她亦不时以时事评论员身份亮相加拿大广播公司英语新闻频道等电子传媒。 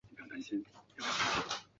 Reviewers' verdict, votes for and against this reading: rejected, 0, 4